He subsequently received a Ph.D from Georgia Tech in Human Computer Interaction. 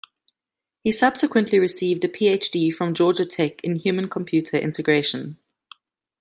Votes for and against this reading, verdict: 1, 2, rejected